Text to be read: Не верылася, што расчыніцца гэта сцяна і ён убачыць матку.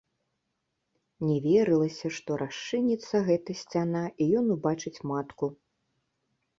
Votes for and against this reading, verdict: 2, 0, accepted